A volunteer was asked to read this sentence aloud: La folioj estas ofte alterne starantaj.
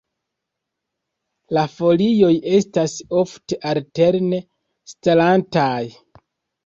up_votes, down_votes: 1, 2